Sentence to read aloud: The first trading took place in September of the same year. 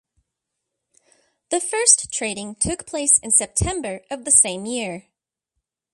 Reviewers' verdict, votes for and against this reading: accepted, 2, 0